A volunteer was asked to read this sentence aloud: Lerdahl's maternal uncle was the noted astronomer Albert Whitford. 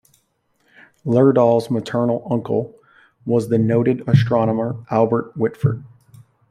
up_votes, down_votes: 2, 1